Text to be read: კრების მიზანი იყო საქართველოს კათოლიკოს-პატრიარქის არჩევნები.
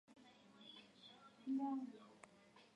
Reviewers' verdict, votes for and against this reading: rejected, 0, 2